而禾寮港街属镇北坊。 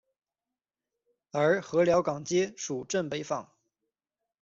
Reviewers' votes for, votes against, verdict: 2, 0, accepted